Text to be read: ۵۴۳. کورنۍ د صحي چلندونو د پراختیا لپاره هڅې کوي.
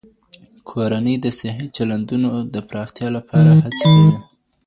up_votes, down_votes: 0, 2